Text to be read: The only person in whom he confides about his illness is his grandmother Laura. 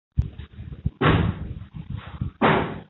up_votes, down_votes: 0, 2